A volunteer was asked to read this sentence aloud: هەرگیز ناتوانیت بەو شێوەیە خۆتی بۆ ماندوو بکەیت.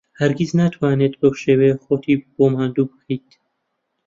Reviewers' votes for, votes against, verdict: 0, 2, rejected